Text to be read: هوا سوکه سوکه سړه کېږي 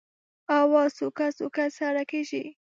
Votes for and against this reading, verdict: 0, 2, rejected